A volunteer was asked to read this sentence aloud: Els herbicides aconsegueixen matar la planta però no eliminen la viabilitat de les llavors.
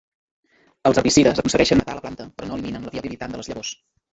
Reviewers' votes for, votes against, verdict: 1, 3, rejected